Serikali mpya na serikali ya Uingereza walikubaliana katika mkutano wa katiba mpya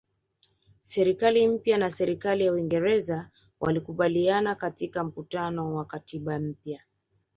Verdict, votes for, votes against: accepted, 3, 0